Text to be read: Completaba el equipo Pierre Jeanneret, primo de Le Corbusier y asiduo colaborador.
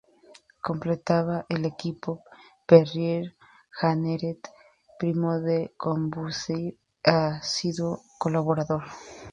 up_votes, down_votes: 0, 2